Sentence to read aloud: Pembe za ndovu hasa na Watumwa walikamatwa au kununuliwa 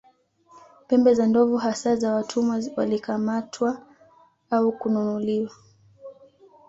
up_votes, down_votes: 2, 1